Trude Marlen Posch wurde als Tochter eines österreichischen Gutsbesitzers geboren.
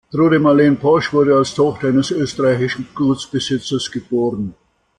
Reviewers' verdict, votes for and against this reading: accepted, 2, 0